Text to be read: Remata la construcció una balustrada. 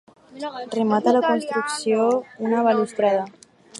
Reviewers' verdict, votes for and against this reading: rejected, 2, 4